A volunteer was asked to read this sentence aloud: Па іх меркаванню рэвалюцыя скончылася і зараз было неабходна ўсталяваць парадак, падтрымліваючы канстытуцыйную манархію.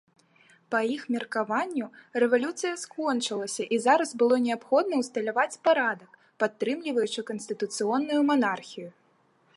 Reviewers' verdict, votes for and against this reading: rejected, 0, 2